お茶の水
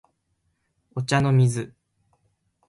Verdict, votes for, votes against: rejected, 0, 2